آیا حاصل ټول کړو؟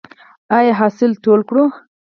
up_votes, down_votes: 4, 0